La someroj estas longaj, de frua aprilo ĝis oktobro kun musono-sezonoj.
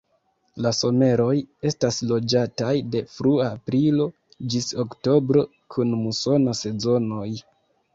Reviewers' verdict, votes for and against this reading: rejected, 0, 2